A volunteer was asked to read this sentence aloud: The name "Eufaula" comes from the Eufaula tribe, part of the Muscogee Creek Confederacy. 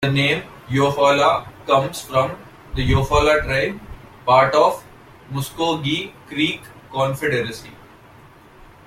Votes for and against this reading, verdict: 2, 1, accepted